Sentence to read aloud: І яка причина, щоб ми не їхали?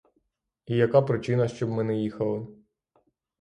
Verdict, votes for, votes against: rejected, 0, 3